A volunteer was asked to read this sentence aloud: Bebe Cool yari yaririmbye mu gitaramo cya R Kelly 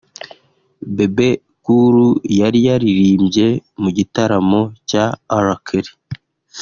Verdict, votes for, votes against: accepted, 2, 0